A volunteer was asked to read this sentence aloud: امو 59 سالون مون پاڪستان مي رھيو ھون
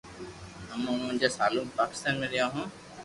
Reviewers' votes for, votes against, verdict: 0, 2, rejected